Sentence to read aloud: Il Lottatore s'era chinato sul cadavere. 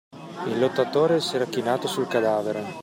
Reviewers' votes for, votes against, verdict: 2, 0, accepted